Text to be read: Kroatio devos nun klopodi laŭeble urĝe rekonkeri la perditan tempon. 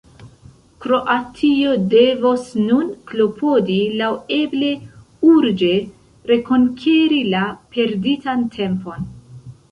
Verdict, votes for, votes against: rejected, 0, 2